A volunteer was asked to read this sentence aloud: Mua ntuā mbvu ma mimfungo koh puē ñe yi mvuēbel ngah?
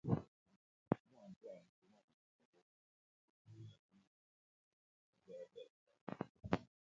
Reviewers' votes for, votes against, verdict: 0, 2, rejected